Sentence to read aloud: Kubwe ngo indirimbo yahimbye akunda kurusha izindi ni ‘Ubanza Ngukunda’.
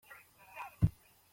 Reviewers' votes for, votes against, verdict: 0, 3, rejected